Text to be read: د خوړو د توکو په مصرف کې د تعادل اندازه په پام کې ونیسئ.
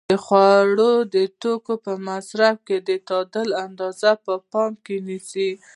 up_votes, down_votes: 2, 0